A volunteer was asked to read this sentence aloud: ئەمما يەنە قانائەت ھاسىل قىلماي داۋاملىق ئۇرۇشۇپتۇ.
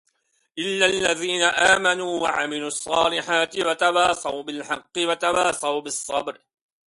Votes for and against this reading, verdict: 0, 2, rejected